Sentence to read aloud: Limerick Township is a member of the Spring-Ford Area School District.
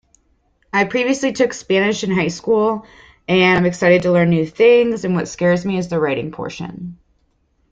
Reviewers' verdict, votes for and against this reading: rejected, 0, 2